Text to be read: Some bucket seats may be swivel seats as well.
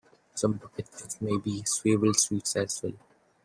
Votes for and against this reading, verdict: 0, 2, rejected